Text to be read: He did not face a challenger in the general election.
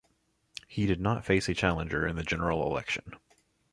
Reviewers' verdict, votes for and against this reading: accepted, 2, 0